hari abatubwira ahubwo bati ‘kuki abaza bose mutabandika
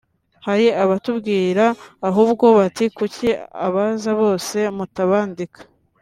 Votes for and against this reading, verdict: 2, 0, accepted